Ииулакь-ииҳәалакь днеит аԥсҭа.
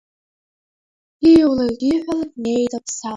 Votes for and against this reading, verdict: 0, 2, rejected